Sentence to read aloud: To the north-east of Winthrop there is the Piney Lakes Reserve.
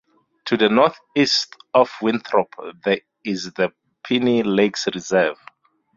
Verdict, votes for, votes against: rejected, 0, 2